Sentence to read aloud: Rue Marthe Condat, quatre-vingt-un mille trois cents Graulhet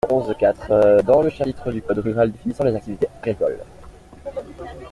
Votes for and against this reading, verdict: 0, 2, rejected